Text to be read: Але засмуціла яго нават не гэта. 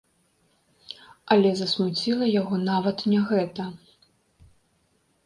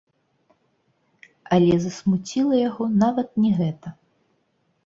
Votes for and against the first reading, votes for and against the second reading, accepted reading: 2, 0, 1, 2, first